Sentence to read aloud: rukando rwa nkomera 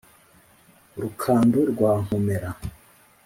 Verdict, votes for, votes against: accepted, 2, 0